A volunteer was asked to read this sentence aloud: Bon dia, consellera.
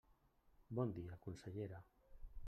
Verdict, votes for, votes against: rejected, 1, 2